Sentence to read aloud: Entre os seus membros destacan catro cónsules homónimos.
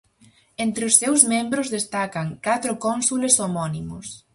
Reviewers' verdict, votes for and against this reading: accepted, 4, 0